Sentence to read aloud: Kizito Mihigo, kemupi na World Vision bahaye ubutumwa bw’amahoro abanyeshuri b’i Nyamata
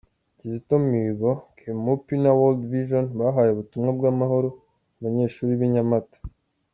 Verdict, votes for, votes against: accepted, 2, 0